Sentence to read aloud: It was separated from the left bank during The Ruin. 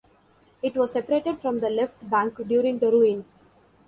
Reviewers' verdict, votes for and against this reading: accepted, 2, 0